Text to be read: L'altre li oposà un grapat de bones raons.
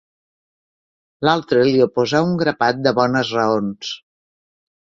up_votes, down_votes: 4, 0